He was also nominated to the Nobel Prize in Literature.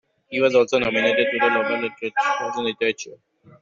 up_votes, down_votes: 0, 2